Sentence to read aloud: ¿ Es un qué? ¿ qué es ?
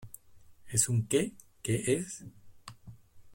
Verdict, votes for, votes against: rejected, 0, 2